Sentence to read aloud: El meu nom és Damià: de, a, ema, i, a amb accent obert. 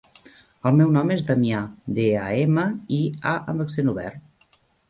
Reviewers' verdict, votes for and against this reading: accepted, 3, 0